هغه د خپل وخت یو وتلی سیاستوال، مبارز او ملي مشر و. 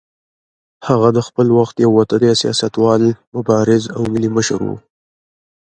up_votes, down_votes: 2, 0